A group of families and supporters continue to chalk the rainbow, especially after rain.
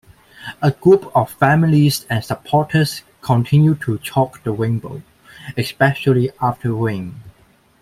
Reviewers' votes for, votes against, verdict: 2, 0, accepted